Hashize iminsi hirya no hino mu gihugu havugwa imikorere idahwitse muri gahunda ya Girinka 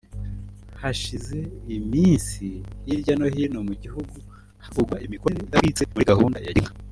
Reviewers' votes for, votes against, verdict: 1, 2, rejected